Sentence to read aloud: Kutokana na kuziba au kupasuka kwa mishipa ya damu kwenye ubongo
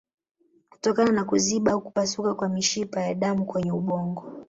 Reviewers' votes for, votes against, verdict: 2, 0, accepted